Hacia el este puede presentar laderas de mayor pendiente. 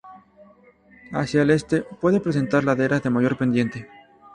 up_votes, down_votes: 0, 2